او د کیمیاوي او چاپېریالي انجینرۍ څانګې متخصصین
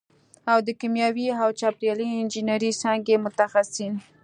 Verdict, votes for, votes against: accepted, 2, 0